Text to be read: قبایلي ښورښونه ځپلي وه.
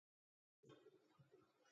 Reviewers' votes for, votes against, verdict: 0, 2, rejected